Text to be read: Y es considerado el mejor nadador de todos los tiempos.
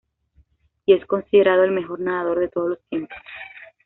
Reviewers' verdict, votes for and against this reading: accepted, 2, 0